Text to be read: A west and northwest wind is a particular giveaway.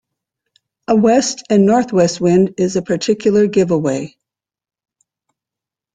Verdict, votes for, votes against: accepted, 2, 0